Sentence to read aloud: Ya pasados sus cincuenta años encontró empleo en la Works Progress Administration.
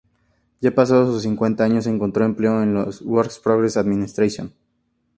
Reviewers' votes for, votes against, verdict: 2, 0, accepted